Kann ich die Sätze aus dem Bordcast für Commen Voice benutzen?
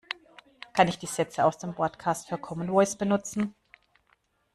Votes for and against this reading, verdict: 1, 2, rejected